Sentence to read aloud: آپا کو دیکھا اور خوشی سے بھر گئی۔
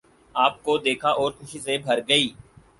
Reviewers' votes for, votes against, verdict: 2, 4, rejected